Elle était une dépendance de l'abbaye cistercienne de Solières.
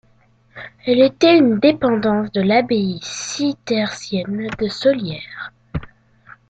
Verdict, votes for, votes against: rejected, 0, 2